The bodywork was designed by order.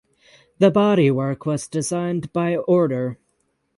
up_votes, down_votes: 6, 0